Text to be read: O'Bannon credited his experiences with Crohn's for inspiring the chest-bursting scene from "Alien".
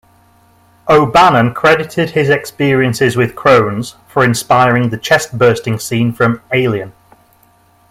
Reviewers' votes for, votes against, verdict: 2, 1, accepted